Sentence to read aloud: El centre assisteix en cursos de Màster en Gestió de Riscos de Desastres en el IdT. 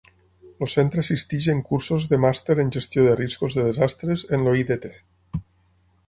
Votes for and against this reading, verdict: 0, 6, rejected